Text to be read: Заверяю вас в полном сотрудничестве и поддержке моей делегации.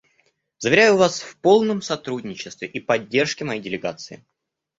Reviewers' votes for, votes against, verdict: 2, 0, accepted